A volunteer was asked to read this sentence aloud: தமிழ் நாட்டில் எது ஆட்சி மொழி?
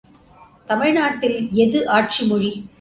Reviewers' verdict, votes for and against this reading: accepted, 2, 0